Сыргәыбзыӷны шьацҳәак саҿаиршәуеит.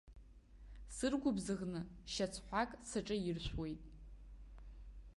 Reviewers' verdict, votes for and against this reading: accepted, 3, 0